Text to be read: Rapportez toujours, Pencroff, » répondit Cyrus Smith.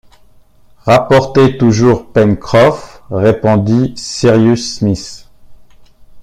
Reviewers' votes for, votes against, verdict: 2, 0, accepted